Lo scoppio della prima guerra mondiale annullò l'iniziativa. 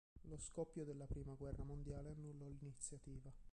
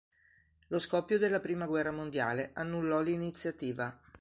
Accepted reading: second